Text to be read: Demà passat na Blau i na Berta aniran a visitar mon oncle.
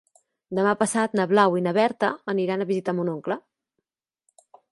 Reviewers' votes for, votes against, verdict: 2, 0, accepted